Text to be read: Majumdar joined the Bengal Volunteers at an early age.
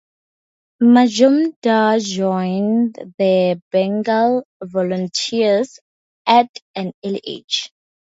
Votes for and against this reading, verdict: 4, 0, accepted